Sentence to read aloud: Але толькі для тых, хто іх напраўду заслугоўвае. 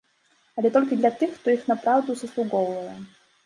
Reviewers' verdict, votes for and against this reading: accepted, 2, 0